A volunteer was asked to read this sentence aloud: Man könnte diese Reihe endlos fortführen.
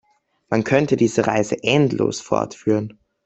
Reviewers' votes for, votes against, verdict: 0, 2, rejected